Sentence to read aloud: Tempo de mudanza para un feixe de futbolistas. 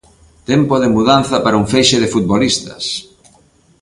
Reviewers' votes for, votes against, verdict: 2, 0, accepted